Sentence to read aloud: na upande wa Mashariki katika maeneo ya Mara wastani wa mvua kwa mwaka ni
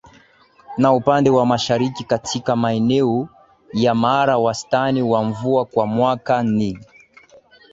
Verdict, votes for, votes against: accepted, 16, 0